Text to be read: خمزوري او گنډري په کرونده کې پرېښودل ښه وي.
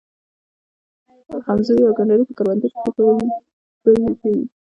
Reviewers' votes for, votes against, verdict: 1, 2, rejected